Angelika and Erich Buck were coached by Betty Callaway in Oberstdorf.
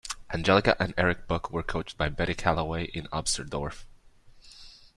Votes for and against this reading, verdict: 1, 2, rejected